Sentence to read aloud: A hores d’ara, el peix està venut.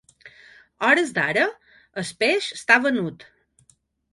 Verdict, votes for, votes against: rejected, 0, 2